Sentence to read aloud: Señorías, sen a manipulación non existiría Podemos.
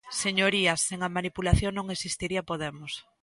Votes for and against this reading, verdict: 2, 0, accepted